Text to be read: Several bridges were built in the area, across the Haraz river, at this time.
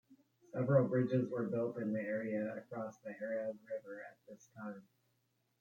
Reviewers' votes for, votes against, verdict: 1, 2, rejected